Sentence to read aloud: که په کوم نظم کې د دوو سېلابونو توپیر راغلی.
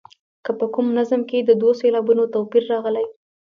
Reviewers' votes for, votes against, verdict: 2, 0, accepted